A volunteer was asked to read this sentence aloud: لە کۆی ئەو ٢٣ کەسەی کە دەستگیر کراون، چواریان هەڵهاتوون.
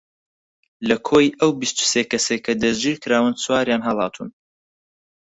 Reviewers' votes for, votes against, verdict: 0, 2, rejected